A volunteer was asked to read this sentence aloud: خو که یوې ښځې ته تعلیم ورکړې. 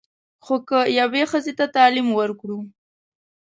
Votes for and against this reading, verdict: 0, 2, rejected